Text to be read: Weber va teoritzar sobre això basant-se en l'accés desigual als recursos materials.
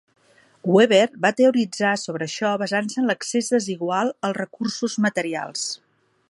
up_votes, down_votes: 2, 0